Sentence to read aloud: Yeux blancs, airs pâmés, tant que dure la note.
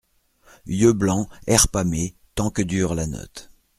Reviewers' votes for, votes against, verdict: 2, 0, accepted